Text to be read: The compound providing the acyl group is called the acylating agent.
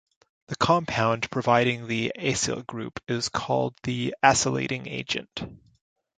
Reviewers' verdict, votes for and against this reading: rejected, 1, 2